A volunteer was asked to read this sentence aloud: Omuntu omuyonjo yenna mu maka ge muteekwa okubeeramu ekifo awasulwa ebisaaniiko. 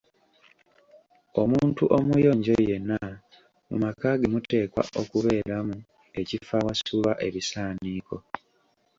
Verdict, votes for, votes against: accepted, 2, 0